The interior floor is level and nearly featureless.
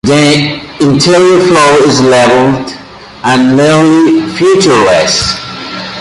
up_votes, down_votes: 2, 0